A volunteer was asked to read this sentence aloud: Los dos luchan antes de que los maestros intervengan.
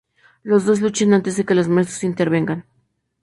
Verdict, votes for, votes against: rejected, 0, 2